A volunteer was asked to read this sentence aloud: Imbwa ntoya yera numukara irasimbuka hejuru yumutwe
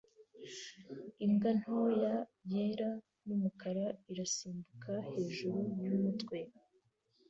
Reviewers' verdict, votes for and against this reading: accepted, 2, 0